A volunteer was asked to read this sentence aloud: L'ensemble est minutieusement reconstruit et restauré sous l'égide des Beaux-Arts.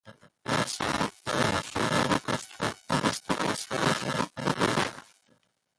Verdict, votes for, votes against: rejected, 0, 2